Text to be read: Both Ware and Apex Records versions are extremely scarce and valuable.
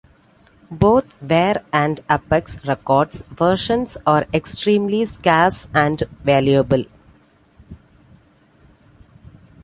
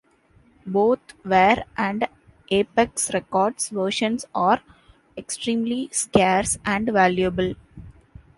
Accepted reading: second